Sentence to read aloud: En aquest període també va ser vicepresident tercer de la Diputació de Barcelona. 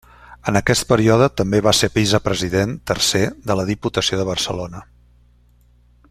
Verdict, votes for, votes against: rejected, 1, 2